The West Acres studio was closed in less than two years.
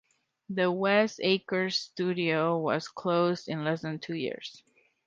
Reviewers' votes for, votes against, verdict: 2, 0, accepted